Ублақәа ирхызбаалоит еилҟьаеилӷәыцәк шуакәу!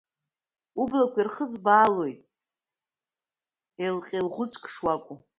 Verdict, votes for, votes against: accepted, 2, 0